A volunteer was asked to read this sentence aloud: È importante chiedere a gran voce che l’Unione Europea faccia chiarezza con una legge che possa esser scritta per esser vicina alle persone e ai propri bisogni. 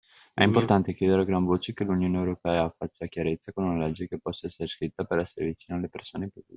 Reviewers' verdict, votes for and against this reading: rejected, 0, 2